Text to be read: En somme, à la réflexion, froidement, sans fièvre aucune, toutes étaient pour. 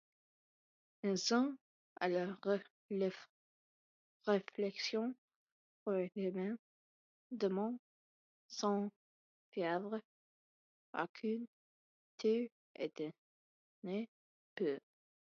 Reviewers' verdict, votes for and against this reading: rejected, 0, 2